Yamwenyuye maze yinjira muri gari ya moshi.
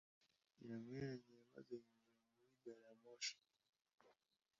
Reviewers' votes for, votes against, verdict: 1, 2, rejected